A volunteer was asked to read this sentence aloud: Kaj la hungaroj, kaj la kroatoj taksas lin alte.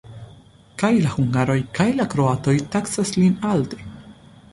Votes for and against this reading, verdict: 2, 0, accepted